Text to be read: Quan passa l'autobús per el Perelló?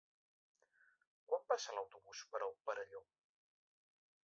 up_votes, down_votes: 4, 0